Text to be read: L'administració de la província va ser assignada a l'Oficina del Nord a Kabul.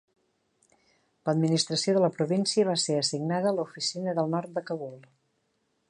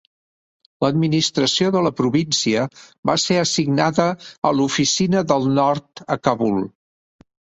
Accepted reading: second